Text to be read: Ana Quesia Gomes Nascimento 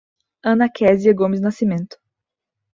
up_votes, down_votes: 2, 0